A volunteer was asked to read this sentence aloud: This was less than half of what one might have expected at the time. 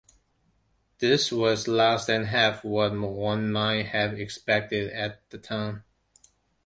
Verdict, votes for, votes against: accepted, 2, 0